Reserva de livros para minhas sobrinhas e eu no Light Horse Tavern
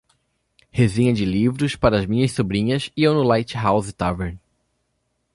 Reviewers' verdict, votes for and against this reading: rejected, 0, 2